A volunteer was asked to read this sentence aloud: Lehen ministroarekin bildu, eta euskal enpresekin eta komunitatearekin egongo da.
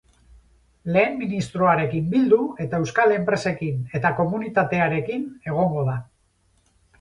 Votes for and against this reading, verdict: 4, 0, accepted